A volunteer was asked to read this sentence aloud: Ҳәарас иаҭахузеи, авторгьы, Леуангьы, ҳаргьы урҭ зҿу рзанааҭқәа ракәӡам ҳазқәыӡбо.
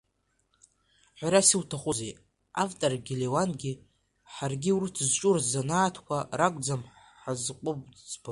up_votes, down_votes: 2, 0